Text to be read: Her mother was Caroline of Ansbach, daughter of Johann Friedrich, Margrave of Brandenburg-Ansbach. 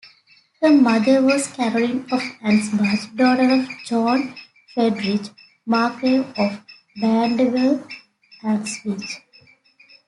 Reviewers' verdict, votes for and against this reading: accepted, 2, 0